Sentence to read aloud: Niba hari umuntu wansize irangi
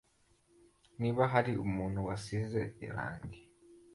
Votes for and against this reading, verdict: 2, 1, accepted